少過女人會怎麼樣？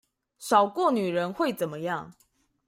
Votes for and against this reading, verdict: 2, 0, accepted